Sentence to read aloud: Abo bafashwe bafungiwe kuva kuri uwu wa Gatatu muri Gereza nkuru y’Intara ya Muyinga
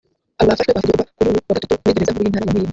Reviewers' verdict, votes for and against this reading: rejected, 0, 2